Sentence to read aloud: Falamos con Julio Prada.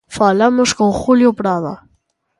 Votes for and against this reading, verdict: 2, 0, accepted